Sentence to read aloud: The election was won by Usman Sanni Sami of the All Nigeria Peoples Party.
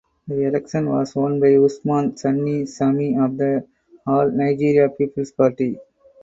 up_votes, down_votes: 4, 0